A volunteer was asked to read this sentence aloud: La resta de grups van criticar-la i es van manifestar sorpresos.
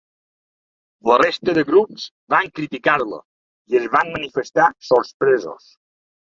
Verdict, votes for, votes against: rejected, 1, 3